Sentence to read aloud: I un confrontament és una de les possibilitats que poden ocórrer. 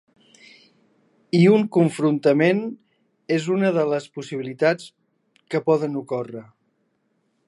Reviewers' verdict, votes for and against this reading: accepted, 3, 0